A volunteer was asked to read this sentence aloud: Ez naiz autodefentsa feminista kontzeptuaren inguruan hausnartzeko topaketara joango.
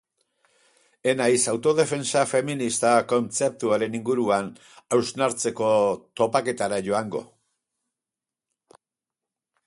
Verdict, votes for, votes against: accepted, 2, 0